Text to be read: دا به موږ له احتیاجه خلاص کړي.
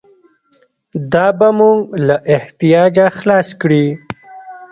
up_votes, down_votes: 2, 0